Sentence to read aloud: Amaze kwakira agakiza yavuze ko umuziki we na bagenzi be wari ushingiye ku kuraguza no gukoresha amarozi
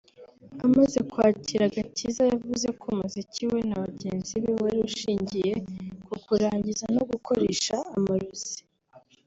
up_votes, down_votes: 1, 2